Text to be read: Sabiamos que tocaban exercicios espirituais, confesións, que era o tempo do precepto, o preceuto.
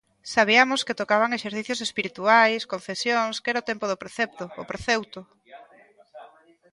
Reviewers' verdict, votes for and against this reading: rejected, 0, 2